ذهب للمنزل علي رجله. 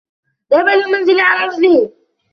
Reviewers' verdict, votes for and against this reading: accepted, 2, 1